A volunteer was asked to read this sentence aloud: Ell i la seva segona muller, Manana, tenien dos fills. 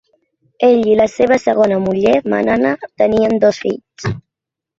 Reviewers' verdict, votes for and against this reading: accepted, 3, 0